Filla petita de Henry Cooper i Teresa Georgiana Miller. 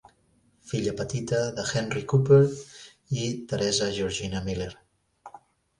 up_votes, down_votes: 1, 2